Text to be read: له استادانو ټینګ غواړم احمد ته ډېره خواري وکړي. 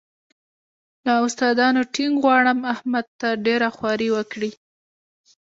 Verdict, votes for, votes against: accepted, 2, 1